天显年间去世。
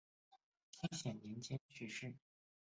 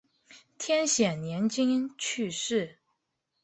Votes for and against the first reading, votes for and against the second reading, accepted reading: 0, 6, 4, 3, second